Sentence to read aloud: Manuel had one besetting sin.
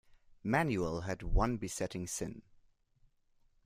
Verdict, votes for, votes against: accepted, 2, 0